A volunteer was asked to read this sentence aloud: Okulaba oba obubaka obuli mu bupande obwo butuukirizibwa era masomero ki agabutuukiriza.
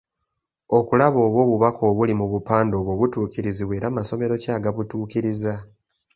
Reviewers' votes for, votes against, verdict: 2, 0, accepted